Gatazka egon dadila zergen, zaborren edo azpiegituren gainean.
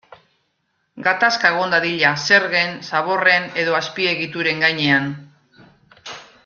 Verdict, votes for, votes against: accepted, 2, 0